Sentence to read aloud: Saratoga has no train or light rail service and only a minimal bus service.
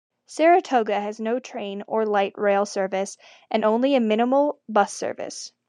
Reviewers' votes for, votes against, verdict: 2, 0, accepted